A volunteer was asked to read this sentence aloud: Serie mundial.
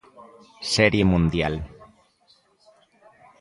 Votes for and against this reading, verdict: 2, 0, accepted